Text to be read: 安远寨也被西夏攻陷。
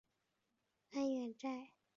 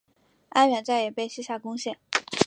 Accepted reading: second